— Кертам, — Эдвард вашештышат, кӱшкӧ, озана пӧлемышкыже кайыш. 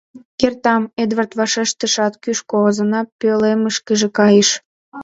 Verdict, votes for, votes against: accepted, 2, 0